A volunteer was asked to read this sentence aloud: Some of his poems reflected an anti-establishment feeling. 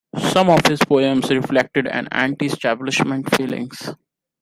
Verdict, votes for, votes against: rejected, 0, 2